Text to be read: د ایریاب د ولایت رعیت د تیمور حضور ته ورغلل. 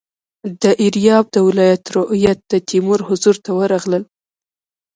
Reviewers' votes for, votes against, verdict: 0, 2, rejected